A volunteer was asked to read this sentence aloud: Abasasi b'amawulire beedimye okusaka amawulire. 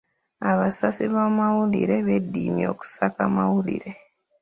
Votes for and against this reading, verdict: 2, 0, accepted